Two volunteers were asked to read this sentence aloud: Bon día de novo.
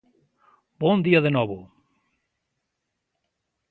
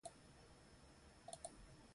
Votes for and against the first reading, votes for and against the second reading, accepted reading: 2, 0, 0, 2, first